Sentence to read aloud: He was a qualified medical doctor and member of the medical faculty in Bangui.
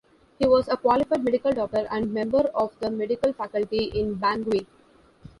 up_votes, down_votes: 2, 1